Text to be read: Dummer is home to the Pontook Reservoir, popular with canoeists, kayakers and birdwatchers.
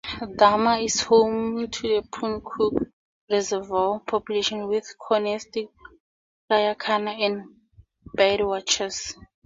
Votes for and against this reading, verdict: 0, 2, rejected